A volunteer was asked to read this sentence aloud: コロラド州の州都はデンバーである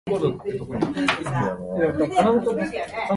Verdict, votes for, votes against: rejected, 1, 2